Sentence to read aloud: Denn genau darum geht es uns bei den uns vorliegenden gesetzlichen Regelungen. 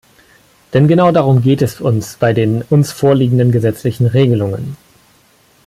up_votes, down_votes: 2, 1